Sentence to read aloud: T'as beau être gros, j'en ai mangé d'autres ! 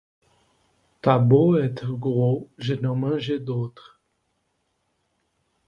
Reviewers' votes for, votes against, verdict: 0, 2, rejected